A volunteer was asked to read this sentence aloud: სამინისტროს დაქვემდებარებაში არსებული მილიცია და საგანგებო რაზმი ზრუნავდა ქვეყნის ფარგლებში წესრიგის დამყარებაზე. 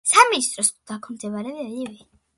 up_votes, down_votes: 0, 2